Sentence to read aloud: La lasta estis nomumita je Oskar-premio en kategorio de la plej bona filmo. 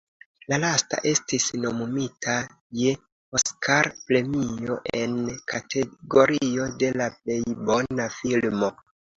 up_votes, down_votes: 2, 0